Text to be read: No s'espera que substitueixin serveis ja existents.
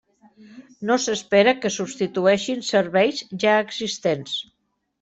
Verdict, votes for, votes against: accepted, 3, 0